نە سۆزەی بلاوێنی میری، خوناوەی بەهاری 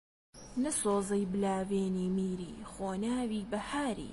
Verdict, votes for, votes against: accepted, 2, 1